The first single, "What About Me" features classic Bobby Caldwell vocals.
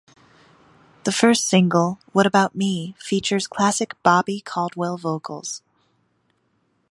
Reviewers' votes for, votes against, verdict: 2, 0, accepted